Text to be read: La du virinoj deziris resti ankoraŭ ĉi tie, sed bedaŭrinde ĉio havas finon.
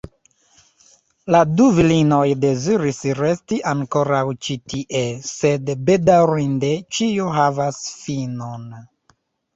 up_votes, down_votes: 1, 2